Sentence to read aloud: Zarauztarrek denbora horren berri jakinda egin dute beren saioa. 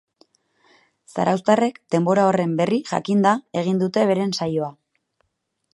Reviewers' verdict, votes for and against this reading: accepted, 4, 0